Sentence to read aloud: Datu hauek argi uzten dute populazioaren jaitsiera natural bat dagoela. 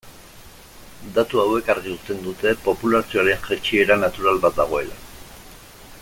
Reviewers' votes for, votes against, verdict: 1, 2, rejected